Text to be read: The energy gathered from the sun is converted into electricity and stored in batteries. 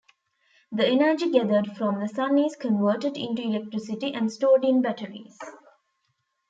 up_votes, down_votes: 2, 0